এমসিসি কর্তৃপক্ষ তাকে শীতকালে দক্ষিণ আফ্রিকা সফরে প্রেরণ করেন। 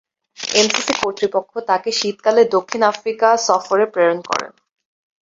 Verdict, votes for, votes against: accepted, 13, 3